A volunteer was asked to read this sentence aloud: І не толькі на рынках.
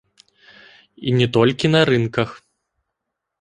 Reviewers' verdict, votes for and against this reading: accepted, 2, 0